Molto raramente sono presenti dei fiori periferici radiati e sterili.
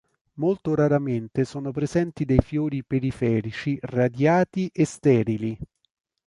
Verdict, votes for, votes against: accepted, 2, 0